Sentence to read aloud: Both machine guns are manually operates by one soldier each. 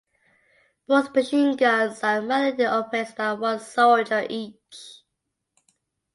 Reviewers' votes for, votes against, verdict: 3, 1, accepted